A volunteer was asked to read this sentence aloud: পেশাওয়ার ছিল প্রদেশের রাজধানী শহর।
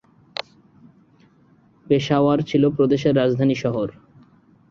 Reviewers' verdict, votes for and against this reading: accepted, 7, 1